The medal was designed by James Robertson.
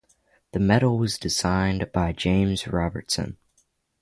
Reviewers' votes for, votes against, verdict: 3, 0, accepted